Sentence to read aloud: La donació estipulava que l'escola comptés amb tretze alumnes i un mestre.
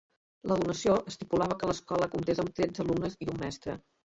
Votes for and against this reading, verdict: 1, 2, rejected